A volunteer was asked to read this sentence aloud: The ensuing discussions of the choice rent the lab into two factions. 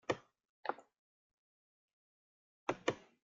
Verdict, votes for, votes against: rejected, 0, 3